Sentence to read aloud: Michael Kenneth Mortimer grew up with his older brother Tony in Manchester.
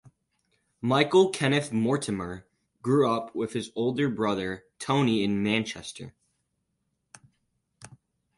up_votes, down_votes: 4, 2